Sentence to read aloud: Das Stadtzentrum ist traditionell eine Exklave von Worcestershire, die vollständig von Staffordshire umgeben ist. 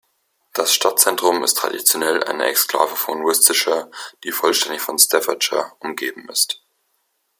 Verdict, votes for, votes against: accepted, 2, 0